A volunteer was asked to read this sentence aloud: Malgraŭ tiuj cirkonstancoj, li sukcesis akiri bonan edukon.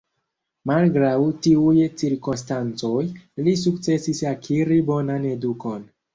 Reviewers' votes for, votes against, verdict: 1, 2, rejected